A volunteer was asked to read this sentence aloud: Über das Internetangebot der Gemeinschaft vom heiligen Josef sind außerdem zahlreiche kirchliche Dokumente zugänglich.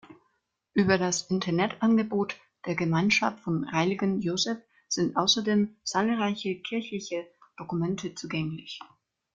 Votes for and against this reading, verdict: 2, 0, accepted